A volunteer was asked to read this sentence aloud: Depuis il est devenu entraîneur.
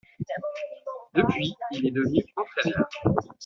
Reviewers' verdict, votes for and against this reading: accepted, 2, 1